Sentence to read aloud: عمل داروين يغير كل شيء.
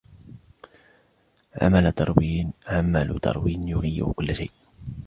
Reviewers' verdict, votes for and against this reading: rejected, 0, 2